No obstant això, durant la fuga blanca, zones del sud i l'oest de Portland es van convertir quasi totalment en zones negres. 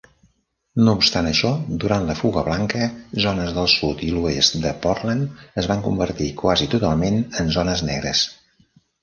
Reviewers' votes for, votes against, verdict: 3, 0, accepted